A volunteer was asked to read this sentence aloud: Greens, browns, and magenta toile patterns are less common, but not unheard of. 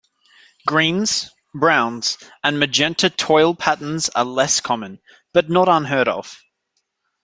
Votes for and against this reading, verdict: 2, 0, accepted